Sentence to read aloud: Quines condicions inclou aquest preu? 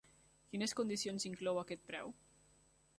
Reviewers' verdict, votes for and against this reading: accepted, 4, 0